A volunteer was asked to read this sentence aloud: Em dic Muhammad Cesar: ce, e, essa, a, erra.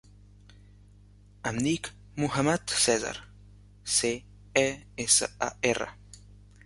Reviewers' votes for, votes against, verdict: 2, 0, accepted